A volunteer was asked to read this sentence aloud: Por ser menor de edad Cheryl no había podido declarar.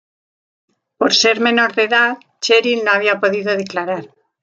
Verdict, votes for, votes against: accepted, 2, 0